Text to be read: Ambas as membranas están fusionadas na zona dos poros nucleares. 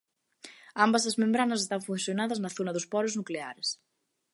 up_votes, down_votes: 1, 2